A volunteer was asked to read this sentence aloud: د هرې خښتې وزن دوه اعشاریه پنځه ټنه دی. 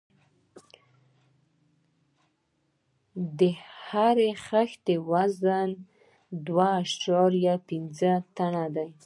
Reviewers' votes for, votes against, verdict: 1, 2, rejected